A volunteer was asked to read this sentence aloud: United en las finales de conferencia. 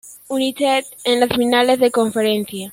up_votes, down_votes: 0, 2